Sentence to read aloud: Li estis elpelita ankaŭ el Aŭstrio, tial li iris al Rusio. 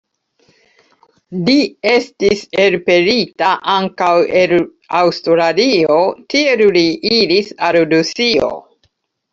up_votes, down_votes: 0, 2